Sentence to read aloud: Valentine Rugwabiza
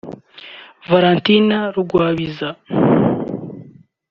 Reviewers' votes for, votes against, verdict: 2, 0, accepted